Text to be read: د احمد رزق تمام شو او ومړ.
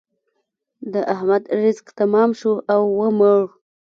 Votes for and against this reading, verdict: 0, 2, rejected